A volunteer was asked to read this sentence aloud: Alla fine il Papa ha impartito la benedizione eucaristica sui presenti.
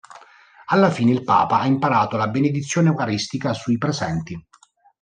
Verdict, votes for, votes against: rejected, 0, 2